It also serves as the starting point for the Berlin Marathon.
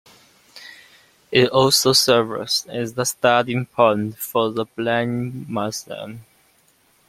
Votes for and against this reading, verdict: 1, 2, rejected